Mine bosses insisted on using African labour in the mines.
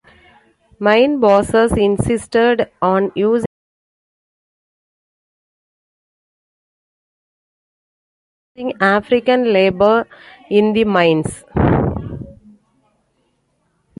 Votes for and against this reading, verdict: 0, 2, rejected